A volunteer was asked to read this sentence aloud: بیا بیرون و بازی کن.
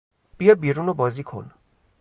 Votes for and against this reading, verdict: 2, 0, accepted